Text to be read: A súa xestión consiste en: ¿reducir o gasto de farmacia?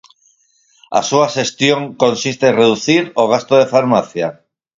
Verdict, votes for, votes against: accepted, 4, 0